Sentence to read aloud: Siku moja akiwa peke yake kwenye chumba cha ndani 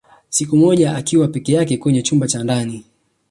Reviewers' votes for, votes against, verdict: 3, 0, accepted